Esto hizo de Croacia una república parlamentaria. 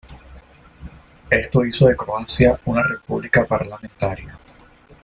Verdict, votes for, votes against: rejected, 1, 2